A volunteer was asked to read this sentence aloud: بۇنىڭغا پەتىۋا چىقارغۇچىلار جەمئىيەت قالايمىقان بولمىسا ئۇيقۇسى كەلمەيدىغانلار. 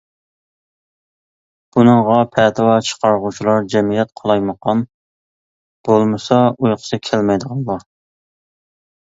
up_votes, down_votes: 2, 1